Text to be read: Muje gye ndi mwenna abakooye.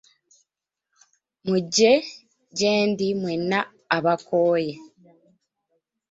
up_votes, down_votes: 1, 2